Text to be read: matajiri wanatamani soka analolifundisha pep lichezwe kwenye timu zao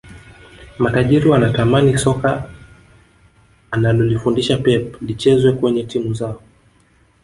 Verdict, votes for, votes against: rejected, 1, 2